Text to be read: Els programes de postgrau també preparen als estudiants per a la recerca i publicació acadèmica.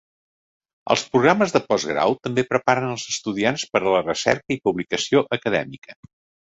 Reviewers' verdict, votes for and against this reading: accepted, 2, 0